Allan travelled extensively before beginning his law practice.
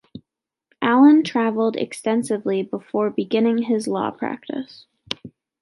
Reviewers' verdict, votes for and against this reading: accepted, 2, 0